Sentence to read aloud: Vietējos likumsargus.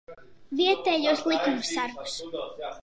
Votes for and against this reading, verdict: 0, 2, rejected